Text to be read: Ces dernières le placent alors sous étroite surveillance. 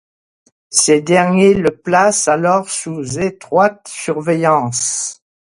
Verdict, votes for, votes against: rejected, 1, 2